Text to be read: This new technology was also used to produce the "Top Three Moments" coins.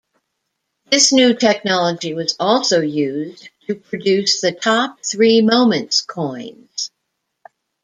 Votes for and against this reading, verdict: 2, 1, accepted